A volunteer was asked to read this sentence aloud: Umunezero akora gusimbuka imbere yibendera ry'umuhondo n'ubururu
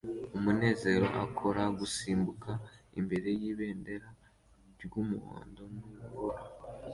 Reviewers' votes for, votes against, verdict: 2, 1, accepted